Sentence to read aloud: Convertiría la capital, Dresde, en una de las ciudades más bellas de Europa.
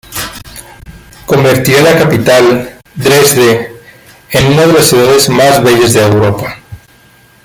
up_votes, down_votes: 2, 1